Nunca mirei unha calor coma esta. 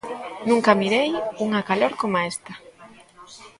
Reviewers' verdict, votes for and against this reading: accepted, 2, 0